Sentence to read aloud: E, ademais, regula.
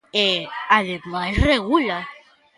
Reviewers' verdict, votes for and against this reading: accepted, 2, 0